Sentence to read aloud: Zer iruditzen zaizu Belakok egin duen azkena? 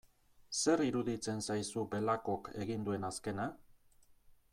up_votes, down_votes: 2, 0